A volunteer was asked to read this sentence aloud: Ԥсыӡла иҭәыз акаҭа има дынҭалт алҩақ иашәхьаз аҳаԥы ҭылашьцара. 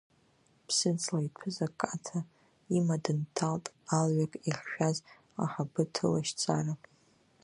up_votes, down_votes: 0, 2